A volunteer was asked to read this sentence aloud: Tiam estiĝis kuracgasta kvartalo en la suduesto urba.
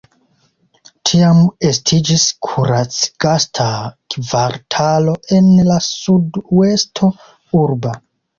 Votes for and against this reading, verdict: 2, 0, accepted